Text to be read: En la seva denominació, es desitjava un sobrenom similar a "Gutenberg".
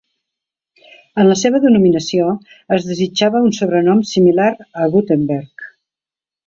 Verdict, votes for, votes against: accepted, 2, 0